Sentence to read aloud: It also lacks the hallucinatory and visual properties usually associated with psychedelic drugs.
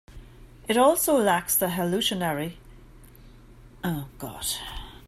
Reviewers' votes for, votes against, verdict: 0, 2, rejected